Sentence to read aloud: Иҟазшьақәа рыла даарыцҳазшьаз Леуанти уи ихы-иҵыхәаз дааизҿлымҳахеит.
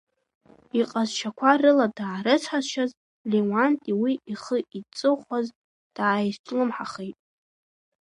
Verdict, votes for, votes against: accepted, 2, 0